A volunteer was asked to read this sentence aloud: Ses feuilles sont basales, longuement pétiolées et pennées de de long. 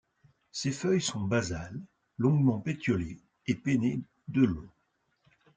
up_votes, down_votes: 1, 2